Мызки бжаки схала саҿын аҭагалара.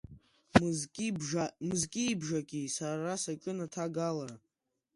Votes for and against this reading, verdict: 0, 2, rejected